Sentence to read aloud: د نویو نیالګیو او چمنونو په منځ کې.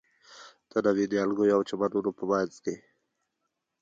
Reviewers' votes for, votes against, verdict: 3, 1, accepted